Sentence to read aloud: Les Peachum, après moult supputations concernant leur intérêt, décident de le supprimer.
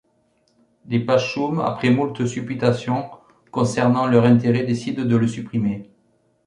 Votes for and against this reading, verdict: 1, 2, rejected